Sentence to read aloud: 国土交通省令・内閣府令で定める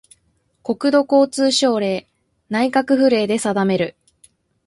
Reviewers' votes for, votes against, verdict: 2, 0, accepted